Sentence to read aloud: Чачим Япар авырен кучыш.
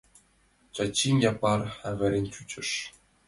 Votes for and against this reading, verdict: 2, 0, accepted